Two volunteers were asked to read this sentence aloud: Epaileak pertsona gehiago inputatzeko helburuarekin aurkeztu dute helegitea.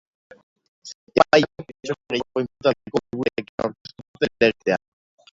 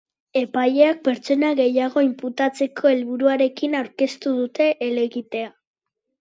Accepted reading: second